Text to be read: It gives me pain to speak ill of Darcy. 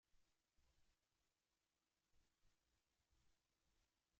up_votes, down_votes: 0, 2